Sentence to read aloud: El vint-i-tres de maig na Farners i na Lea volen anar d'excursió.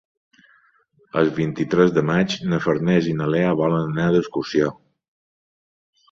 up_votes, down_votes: 3, 0